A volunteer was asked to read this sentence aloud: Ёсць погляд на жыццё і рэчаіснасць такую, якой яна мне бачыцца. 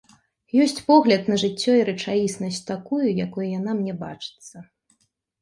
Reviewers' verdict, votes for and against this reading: accepted, 2, 0